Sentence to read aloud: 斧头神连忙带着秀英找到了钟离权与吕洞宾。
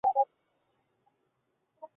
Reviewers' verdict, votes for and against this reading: rejected, 0, 2